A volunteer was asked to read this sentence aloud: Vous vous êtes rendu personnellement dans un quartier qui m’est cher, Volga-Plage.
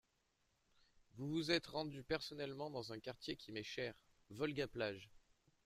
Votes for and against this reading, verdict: 0, 2, rejected